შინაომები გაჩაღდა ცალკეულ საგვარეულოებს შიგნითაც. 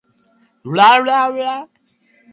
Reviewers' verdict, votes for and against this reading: rejected, 0, 2